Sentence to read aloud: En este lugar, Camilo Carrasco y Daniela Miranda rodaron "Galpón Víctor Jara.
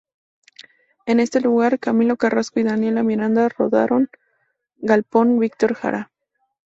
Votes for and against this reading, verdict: 0, 2, rejected